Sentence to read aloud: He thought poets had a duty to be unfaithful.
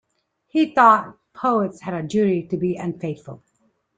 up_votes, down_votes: 2, 0